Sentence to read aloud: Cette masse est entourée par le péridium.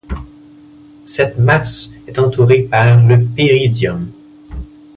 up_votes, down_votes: 2, 0